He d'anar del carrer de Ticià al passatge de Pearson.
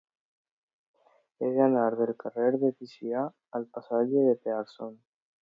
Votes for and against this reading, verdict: 2, 1, accepted